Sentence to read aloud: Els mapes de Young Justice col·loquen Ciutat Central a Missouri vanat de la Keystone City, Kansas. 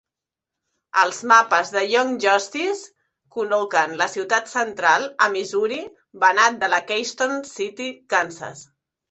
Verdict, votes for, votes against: rejected, 2, 3